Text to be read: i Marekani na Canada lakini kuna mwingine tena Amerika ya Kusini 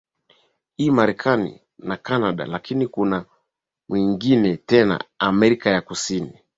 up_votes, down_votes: 2, 0